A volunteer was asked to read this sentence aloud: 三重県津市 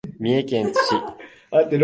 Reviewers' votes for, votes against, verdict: 2, 1, accepted